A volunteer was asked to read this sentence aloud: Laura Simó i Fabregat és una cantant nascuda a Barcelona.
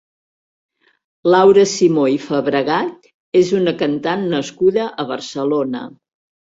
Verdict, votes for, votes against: accepted, 4, 1